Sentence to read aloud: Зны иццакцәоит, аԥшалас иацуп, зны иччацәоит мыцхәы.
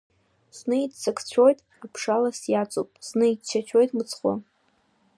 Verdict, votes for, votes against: accepted, 2, 0